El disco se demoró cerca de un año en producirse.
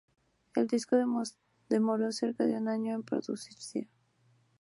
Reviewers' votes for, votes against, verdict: 0, 2, rejected